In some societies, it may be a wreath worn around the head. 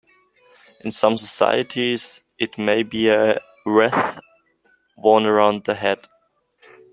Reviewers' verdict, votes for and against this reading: accepted, 2, 1